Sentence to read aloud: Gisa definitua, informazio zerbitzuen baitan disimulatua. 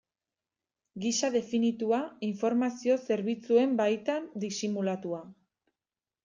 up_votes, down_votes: 2, 0